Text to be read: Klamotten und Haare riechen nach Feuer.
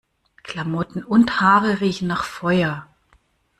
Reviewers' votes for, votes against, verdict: 2, 0, accepted